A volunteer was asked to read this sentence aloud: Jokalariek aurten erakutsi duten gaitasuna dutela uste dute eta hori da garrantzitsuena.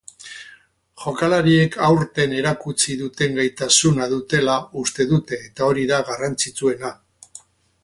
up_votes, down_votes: 6, 0